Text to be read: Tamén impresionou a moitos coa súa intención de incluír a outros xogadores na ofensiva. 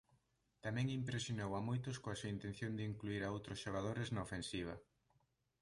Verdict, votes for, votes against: rejected, 1, 2